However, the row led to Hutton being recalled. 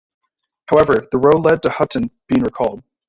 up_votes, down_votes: 1, 2